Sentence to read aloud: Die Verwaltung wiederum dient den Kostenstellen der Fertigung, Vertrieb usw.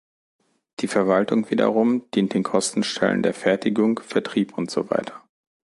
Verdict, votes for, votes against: rejected, 1, 2